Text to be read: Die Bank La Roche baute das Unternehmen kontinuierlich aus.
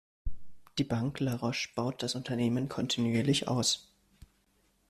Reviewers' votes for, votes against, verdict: 0, 2, rejected